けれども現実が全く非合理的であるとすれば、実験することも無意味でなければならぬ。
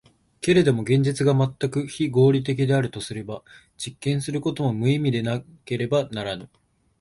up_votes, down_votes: 2, 0